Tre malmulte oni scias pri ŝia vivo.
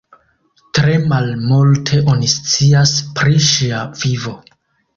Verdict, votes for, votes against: accepted, 2, 1